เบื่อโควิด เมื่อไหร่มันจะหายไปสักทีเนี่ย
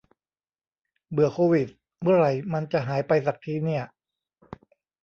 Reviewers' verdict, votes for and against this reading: accepted, 2, 0